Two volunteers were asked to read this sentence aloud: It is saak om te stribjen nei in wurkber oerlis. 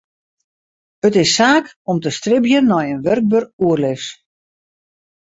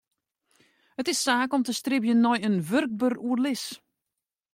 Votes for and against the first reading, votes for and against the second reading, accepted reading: 2, 2, 2, 0, second